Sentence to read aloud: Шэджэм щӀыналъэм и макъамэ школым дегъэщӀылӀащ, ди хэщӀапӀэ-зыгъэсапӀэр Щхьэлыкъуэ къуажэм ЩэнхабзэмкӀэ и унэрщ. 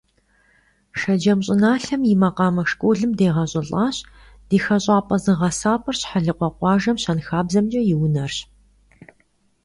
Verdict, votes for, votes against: accepted, 2, 0